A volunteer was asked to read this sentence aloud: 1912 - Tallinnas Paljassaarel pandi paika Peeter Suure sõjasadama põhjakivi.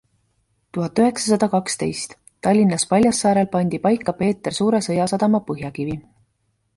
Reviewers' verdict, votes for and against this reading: rejected, 0, 2